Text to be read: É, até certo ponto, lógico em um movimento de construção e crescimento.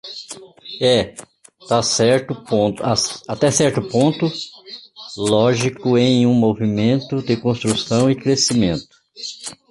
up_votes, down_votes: 0, 2